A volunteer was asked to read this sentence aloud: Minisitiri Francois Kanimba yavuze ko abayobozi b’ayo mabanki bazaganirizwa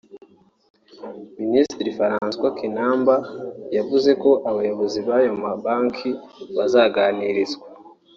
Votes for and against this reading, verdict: 1, 2, rejected